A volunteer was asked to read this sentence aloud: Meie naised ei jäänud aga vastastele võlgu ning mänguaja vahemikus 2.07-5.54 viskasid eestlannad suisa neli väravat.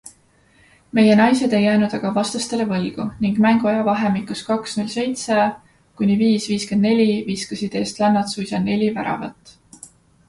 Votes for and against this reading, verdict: 0, 2, rejected